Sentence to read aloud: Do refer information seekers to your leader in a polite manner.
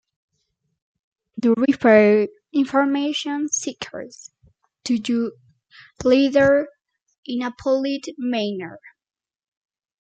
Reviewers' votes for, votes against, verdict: 0, 2, rejected